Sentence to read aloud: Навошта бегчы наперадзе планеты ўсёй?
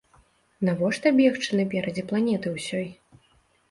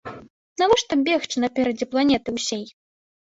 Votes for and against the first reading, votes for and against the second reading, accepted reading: 2, 0, 1, 3, first